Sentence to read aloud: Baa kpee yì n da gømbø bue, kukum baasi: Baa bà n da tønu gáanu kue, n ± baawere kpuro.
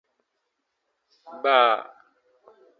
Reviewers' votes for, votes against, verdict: 0, 2, rejected